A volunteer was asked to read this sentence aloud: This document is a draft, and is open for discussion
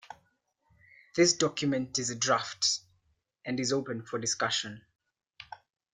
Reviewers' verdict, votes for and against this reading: accepted, 2, 0